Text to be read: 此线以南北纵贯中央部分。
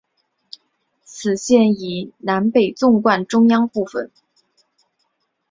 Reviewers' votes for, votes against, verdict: 2, 0, accepted